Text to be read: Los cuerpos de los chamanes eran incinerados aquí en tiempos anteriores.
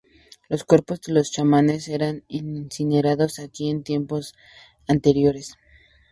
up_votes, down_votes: 2, 0